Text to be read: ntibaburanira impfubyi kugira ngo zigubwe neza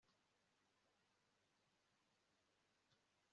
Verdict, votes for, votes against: rejected, 1, 2